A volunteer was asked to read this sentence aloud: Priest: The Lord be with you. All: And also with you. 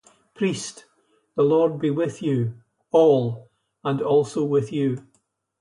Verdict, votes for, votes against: accepted, 2, 0